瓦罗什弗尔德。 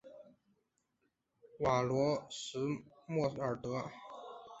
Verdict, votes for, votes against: accepted, 2, 0